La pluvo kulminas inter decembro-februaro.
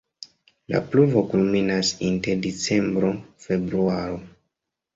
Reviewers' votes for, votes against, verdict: 1, 2, rejected